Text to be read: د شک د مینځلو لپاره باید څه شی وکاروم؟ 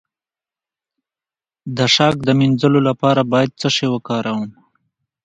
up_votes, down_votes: 2, 0